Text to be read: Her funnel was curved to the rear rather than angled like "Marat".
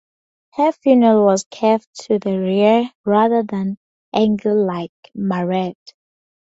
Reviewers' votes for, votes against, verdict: 4, 0, accepted